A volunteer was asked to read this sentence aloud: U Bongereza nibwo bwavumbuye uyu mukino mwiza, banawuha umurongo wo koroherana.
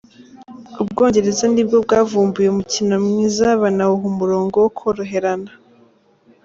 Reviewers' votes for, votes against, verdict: 0, 2, rejected